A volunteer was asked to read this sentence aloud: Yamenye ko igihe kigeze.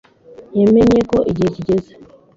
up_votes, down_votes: 1, 2